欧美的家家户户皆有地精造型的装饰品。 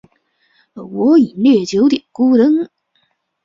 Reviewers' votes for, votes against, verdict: 0, 5, rejected